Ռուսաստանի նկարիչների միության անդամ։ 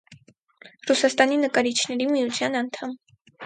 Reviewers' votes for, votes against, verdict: 4, 0, accepted